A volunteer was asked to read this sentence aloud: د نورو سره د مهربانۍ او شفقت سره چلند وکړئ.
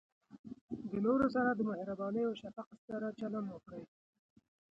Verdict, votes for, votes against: rejected, 0, 2